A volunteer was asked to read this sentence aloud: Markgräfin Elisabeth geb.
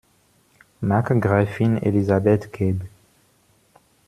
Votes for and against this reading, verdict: 1, 2, rejected